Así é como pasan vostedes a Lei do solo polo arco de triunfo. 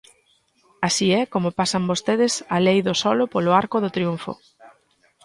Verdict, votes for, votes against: rejected, 1, 2